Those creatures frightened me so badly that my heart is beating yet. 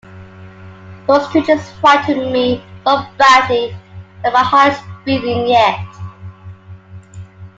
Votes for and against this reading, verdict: 2, 0, accepted